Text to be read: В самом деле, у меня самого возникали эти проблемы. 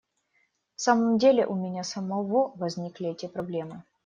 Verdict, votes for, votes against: rejected, 0, 2